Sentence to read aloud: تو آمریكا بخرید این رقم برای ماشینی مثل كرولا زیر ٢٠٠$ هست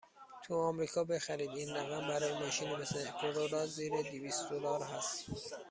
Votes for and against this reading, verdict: 0, 2, rejected